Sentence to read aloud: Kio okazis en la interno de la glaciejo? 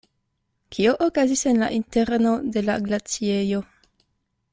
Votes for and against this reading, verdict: 2, 0, accepted